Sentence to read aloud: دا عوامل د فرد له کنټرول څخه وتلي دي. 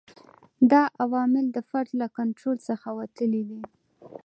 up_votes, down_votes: 2, 0